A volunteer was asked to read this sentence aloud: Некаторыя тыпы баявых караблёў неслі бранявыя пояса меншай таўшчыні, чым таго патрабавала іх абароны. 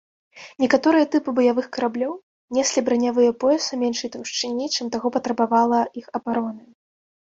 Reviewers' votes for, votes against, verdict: 0, 2, rejected